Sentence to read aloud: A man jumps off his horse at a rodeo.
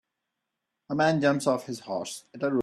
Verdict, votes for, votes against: rejected, 0, 2